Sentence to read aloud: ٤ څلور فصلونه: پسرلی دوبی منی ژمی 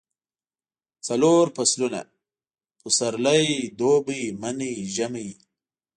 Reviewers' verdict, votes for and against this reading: rejected, 0, 2